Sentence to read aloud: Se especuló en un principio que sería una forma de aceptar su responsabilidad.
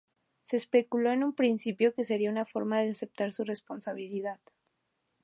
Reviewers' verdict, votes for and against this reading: rejected, 0, 2